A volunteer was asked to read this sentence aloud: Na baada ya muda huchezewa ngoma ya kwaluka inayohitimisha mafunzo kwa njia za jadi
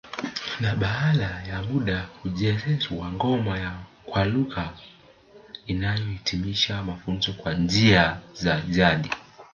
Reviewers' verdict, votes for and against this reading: accepted, 2, 0